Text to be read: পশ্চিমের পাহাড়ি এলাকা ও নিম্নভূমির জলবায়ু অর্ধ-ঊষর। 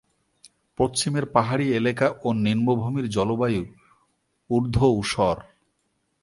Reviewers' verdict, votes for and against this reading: rejected, 2, 3